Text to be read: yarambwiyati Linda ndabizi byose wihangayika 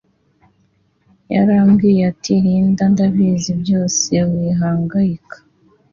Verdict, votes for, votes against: accepted, 2, 0